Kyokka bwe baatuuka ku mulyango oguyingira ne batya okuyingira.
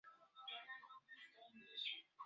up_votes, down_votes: 0, 2